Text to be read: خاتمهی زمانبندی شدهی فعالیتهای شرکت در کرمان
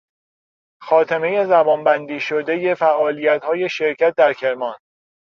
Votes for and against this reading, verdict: 2, 0, accepted